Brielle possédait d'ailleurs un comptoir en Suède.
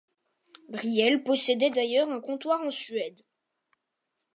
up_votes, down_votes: 2, 0